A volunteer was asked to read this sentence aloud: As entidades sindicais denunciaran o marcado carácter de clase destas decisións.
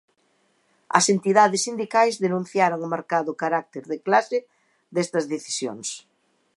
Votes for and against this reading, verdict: 1, 2, rejected